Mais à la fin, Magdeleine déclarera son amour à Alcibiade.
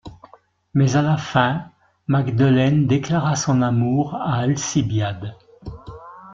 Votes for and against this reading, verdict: 1, 2, rejected